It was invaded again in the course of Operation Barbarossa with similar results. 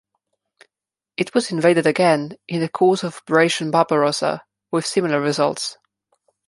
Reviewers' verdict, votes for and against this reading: rejected, 1, 2